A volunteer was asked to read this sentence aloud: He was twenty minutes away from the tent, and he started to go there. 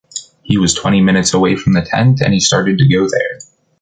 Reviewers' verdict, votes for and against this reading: accepted, 2, 0